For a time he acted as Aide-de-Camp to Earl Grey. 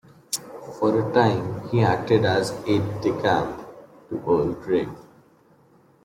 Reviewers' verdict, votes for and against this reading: rejected, 1, 2